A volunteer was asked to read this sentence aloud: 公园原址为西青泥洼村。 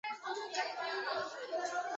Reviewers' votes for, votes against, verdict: 1, 2, rejected